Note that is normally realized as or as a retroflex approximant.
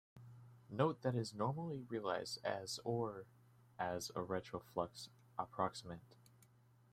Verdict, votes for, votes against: accepted, 3, 1